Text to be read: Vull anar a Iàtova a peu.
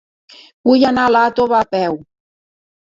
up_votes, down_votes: 2, 1